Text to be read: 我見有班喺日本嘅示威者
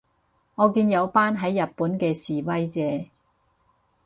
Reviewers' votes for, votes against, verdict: 4, 0, accepted